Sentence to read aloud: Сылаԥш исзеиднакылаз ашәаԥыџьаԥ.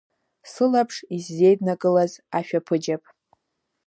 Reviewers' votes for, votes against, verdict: 2, 0, accepted